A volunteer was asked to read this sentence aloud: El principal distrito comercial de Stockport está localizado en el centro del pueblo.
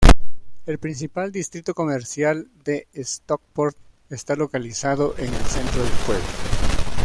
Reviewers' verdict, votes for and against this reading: rejected, 1, 2